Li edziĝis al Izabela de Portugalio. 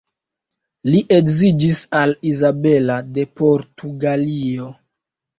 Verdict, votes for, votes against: rejected, 0, 2